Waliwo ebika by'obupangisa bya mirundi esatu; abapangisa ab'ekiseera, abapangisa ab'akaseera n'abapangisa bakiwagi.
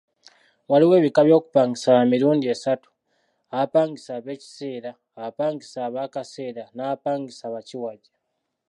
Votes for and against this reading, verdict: 2, 0, accepted